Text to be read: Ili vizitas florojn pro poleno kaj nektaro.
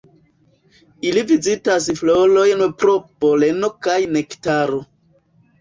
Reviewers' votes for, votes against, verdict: 1, 2, rejected